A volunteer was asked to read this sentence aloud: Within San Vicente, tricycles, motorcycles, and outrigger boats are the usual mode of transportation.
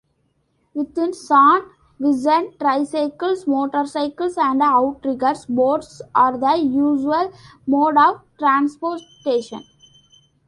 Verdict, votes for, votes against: rejected, 0, 2